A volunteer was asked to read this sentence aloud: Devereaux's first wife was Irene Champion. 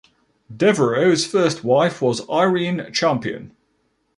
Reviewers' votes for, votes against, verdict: 2, 0, accepted